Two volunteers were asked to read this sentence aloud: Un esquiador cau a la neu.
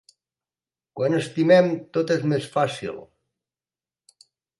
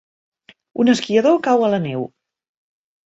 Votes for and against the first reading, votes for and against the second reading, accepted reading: 0, 2, 3, 0, second